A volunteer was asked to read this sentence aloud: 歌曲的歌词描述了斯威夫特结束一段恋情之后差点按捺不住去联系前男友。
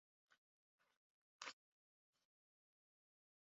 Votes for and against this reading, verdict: 4, 0, accepted